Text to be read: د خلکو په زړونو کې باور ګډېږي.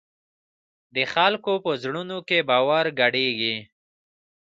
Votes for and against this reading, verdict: 2, 0, accepted